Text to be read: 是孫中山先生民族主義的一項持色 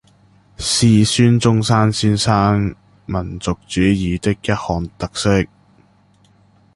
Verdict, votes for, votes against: rejected, 1, 2